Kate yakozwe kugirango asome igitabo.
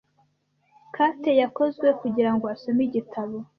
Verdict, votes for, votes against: accepted, 2, 0